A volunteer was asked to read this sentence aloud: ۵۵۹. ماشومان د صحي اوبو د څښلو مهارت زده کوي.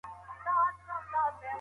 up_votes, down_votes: 0, 2